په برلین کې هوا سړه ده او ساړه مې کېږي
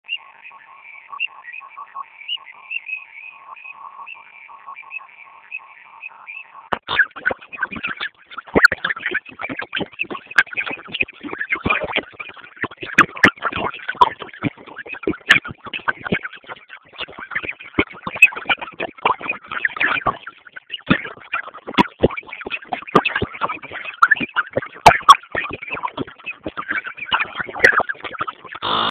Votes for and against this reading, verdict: 0, 2, rejected